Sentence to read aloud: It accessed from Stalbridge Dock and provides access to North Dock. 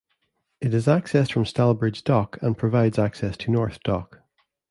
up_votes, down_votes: 0, 2